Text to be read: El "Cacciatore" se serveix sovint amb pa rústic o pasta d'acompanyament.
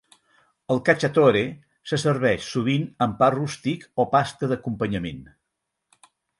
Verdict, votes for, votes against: accepted, 4, 0